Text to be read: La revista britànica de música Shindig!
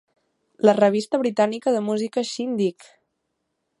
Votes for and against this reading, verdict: 2, 0, accepted